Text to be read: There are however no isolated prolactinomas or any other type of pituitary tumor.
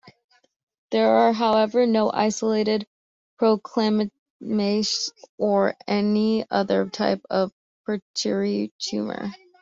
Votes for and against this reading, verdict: 0, 2, rejected